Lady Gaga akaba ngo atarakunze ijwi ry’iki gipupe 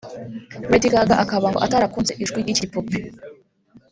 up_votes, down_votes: 0, 2